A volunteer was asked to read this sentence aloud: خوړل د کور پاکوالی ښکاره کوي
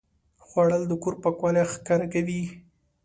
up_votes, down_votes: 2, 0